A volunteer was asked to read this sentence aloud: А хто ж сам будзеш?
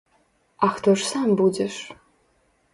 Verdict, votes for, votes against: accepted, 3, 0